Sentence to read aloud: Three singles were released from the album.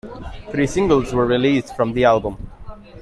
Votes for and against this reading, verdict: 2, 0, accepted